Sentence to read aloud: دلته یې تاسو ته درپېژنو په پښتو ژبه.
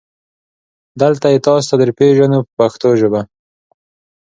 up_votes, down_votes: 2, 0